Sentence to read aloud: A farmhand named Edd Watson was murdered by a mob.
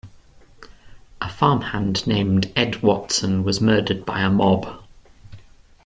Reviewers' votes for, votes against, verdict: 2, 0, accepted